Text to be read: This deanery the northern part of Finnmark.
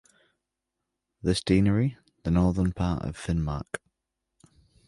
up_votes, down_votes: 2, 0